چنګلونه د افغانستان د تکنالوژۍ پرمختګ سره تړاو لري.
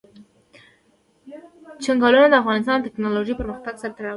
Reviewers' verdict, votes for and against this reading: rejected, 0, 2